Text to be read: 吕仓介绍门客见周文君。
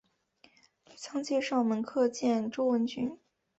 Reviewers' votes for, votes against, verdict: 2, 1, accepted